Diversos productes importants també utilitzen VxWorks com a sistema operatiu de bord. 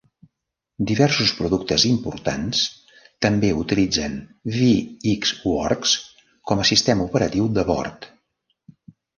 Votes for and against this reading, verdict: 2, 0, accepted